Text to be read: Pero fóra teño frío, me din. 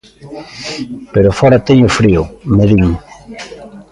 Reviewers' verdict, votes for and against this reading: rejected, 1, 2